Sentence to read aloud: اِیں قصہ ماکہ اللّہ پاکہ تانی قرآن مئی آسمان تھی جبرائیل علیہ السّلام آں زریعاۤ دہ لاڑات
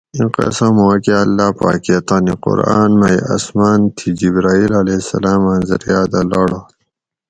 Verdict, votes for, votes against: rejected, 2, 2